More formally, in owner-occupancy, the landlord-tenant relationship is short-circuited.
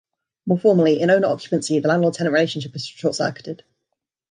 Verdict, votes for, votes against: accepted, 2, 1